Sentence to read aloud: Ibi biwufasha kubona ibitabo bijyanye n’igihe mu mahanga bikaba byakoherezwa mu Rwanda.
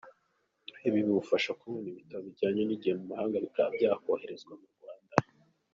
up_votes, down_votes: 1, 2